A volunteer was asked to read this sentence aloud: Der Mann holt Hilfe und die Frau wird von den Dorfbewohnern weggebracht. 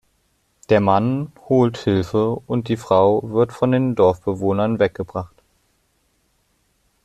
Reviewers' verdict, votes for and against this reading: accepted, 2, 1